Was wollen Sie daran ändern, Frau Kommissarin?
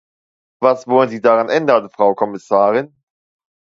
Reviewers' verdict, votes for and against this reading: accepted, 2, 0